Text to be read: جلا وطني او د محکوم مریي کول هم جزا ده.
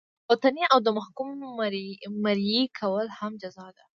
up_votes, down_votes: 0, 2